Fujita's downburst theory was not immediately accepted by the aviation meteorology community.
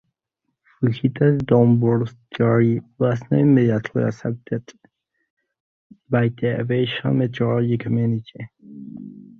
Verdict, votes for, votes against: rejected, 0, 2